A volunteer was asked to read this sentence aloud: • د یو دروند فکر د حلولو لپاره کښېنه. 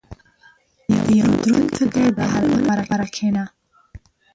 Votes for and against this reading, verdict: 0, 2, rejected